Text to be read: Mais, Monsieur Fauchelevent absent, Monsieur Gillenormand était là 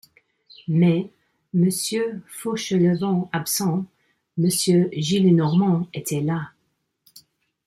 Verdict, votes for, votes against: accepted, 2, 0